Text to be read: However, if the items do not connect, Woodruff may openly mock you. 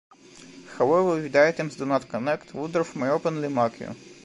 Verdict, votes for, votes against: rejected, 0, 2